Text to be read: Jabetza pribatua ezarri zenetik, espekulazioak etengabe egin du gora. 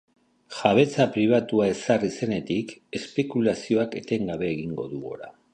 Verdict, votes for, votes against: accepted, 2, 1